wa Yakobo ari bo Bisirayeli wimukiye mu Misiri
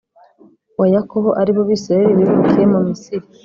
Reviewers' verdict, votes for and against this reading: accepted, 3, 0